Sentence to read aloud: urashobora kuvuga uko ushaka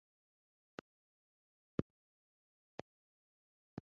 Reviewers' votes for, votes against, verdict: 1, 2, rejected